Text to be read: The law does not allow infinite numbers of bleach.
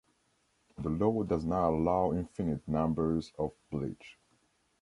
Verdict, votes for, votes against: accepted, 2, 0